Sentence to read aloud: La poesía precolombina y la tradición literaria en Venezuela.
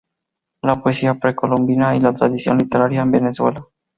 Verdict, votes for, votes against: accepted, 2, 0